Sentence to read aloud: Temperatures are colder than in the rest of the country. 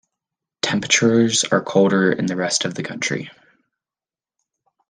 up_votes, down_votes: 1, 2